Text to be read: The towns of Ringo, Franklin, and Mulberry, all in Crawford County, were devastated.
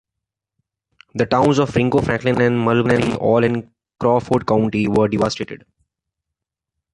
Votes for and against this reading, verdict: 1, 2, rejected